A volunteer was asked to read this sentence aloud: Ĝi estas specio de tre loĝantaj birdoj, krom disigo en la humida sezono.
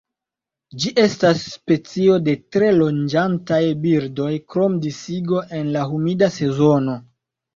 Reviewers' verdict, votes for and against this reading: rejected, 1, 2